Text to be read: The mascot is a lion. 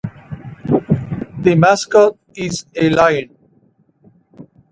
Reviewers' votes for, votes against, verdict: 1, 2, rejected